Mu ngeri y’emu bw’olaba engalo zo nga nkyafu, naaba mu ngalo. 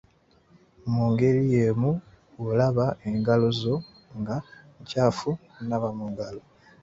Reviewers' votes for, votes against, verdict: 2, 1, accepted